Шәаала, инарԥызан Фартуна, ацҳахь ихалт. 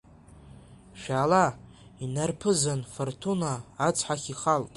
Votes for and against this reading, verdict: 2, 0, accepted